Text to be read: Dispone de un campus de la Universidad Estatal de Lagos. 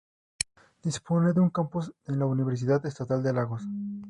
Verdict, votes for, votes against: rejected, 0, 2